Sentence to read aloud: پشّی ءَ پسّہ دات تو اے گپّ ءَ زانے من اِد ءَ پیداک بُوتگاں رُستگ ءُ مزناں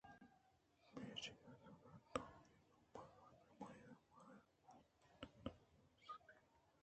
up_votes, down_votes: 0, 2